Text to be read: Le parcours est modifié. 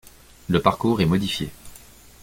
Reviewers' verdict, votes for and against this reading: accepted, 2, 0